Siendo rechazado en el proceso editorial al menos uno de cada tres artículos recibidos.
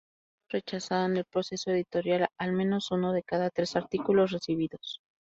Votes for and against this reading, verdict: 2, 0, accepted